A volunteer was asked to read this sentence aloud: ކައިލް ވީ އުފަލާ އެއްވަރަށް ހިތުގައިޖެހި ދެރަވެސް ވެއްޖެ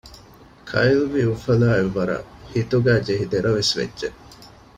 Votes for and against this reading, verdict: 2, 0, accepted